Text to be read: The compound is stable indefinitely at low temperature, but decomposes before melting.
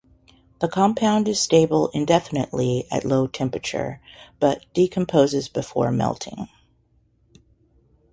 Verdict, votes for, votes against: accepted, 2, 0